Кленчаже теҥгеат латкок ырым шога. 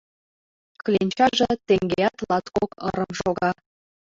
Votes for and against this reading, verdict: 2, 0, accepted